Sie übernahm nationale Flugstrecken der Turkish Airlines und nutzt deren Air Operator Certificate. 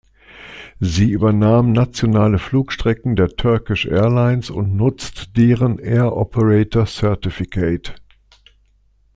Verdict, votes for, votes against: accepted, 2, 0